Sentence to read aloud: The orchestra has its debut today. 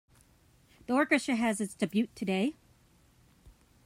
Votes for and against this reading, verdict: 1, 2, rejected